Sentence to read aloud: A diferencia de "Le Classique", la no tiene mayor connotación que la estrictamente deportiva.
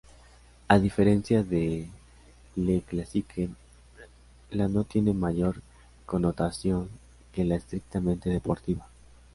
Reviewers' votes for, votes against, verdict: 2, 0, accepted